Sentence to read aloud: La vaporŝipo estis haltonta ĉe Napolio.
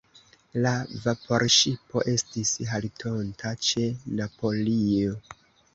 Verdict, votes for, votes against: accepted, 2, 1